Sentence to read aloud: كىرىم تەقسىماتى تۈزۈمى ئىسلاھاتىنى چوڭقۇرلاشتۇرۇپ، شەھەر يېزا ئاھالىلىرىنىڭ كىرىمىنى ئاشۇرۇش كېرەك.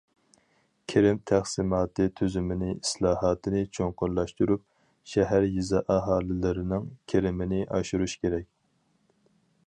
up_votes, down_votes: 0, 4